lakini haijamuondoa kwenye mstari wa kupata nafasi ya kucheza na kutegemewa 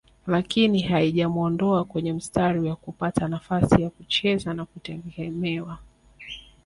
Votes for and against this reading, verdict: 2, 0, accepted